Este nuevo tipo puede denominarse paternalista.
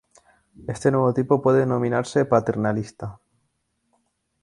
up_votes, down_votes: 0, 2